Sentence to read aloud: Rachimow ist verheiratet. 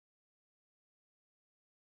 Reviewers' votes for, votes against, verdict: 0, 2, rejected